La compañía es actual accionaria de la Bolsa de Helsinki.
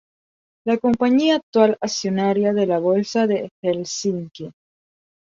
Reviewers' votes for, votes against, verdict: 0, 2, rejected